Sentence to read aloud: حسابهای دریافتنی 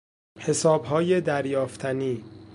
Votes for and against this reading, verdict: 2, 0, accepted